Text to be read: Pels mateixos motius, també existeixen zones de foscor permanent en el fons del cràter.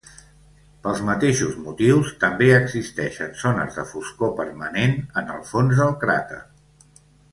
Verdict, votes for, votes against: accepted, 2, 0